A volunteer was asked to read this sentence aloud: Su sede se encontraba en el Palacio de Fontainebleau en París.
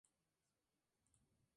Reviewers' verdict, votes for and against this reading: rejected, 0, 2